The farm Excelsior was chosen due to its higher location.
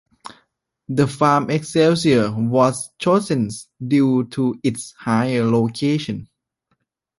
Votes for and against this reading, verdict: 2, 1, accepted